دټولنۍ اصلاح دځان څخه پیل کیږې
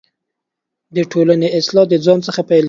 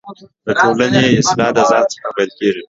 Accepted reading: second